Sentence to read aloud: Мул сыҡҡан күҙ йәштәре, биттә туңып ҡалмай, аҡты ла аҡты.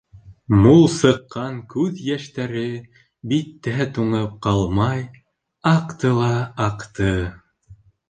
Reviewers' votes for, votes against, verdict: 2, 0, accepted